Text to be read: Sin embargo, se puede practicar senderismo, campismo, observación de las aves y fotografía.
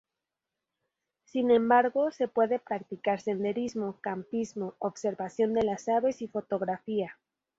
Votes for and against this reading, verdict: 2, 0, accepted